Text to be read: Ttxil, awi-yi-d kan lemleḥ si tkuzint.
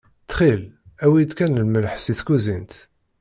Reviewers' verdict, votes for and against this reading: accepted, 2, 0